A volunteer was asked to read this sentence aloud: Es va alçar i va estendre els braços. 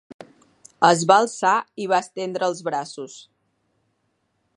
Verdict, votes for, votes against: accepted, 4, 0